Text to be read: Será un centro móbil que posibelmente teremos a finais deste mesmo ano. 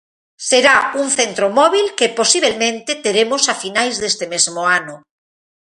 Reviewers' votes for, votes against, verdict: 0, 2, rejected